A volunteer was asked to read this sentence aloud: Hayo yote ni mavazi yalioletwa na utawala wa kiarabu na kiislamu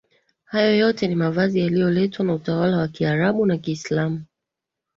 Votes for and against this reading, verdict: 2, 0, accepted